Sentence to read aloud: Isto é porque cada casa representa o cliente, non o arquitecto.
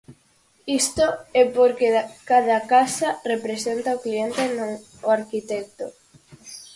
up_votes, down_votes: 2, 2